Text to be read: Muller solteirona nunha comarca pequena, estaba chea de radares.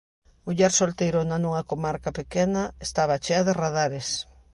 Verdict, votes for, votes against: accepted, 2, 0